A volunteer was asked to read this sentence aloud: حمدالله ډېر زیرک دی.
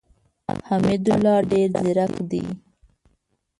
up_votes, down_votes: 0, 2